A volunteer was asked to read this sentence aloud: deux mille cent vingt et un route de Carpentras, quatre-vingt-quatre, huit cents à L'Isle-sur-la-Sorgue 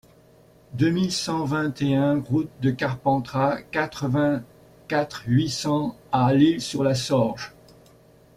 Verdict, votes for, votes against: rejected, 0, 2